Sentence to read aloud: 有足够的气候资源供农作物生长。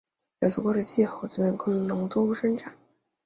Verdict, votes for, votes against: rejected, 1, 2